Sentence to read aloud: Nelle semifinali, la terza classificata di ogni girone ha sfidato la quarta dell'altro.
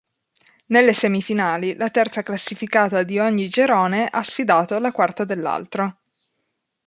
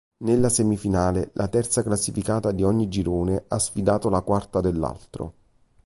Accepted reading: first